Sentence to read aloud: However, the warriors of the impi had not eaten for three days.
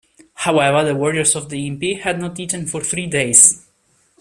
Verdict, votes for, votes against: accepted, 2, 0